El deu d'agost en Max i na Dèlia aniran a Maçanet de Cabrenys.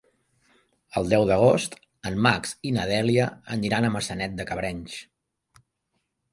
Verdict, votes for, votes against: accepted, 4, 0